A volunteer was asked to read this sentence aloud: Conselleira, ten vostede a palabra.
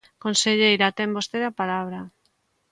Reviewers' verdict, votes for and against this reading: accepted, 2, 0